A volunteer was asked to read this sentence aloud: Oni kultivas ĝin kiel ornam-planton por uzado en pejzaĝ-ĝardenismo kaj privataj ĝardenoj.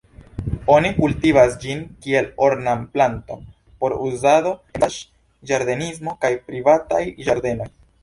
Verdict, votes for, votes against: rejected, 1, 2